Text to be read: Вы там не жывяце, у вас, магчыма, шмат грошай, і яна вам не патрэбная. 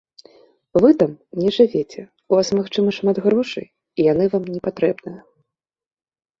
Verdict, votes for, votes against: rejected, 0, 3